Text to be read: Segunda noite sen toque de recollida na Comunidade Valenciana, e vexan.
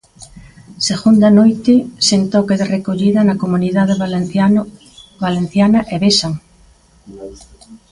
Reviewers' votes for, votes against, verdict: 0, 2, rejected